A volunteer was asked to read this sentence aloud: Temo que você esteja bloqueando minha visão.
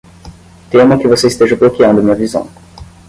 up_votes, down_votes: 5, 0